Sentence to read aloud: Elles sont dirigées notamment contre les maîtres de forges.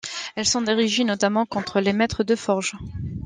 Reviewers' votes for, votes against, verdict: 2, 0, accepted